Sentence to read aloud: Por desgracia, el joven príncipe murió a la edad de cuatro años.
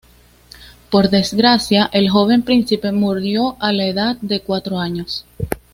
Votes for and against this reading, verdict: 2, 0, accepted